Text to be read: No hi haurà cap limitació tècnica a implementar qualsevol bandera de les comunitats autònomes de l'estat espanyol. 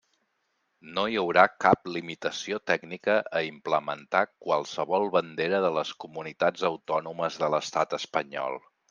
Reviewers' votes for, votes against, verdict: 3, 0, accepted